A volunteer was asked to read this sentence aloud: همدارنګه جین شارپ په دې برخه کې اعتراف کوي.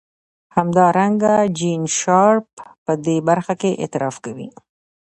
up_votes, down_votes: 2, 0